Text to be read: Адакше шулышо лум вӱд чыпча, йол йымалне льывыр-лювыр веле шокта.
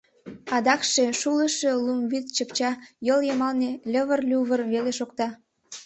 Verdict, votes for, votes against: accepted, 2, 0